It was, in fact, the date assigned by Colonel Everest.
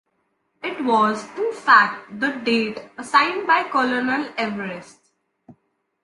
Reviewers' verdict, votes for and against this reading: accepted, 2, 0